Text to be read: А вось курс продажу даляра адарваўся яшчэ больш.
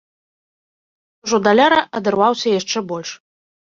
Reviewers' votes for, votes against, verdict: 1, 2, rejected